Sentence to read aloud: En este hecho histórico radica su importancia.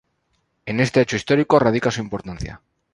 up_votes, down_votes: 4, 0